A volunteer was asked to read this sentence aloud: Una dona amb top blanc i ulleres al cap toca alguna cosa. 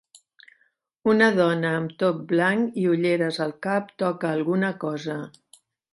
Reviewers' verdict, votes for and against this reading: accepted, 3, 0